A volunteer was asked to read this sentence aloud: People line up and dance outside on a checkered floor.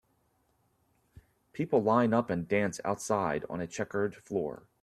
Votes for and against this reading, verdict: 2, 0, accepted